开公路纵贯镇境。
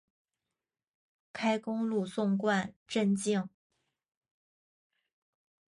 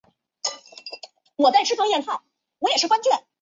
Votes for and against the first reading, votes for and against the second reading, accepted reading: 2, 0, 0, 2, first